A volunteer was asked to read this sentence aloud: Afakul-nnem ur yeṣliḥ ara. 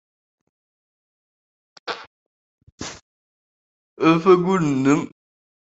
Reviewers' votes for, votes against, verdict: 0, 2, rejected